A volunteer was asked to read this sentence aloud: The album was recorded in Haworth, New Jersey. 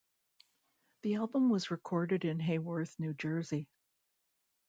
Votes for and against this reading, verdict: 2, 0, accepted